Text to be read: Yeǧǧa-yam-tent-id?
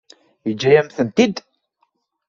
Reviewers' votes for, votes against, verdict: 2, 0, accepted